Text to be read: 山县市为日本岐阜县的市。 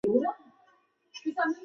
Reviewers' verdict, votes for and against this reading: rejected, 0, 3